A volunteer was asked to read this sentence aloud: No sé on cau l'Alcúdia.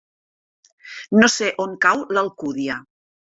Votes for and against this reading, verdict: 3, 0, accepted